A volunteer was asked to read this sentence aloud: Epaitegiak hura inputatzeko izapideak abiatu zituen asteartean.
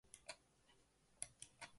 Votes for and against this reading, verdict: 0, 2, rejected